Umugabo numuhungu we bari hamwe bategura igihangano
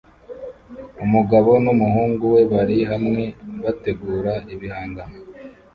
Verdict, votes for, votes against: rejected, 1, 2